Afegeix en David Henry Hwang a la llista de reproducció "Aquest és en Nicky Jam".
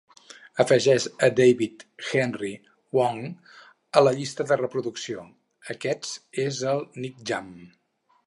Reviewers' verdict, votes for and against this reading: rejected, 2, 4